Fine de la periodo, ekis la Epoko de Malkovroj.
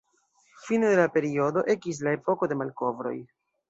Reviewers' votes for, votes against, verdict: 2, 0, accepted